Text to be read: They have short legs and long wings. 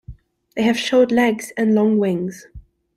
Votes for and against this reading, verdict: 2, 0, accepted